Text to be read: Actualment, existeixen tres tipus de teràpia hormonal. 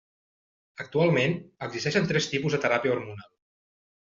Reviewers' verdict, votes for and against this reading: accepted, 2, 0